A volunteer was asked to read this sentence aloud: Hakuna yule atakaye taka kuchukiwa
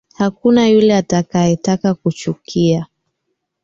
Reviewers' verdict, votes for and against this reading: rejected, 1, 2